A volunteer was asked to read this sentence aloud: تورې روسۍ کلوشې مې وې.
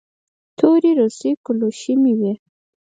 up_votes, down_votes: 4, 0